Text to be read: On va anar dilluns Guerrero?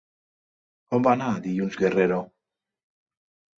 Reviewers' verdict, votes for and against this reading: accepted, 2, 0